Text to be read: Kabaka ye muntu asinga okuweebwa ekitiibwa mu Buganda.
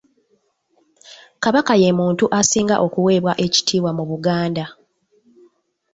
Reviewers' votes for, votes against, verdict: 2, 0, accepted